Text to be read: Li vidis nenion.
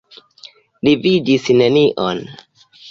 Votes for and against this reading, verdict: 2, 1, accepted